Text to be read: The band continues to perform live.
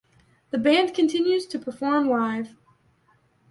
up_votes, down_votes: 2, 0